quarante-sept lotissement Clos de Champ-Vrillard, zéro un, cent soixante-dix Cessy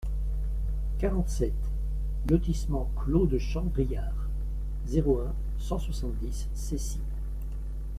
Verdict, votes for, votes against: accepted, 2, 0